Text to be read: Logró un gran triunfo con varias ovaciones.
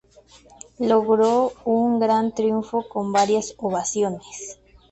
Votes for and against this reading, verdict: 2, 0, accepted